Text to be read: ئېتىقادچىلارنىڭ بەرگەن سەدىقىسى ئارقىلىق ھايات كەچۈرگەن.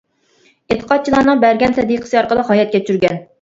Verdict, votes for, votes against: rejected, 1, 2